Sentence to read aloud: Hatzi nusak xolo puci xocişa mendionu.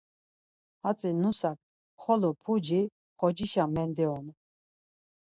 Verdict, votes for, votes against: rejected, 2, 4